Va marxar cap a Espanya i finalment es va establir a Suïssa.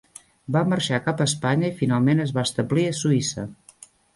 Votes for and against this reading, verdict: 1, 2, rejected